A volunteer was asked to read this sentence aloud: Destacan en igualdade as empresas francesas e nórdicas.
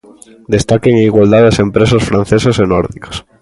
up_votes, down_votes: 2, 0